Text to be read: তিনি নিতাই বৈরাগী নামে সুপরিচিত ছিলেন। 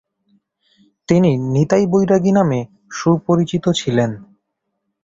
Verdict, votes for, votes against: accepted, 6, 0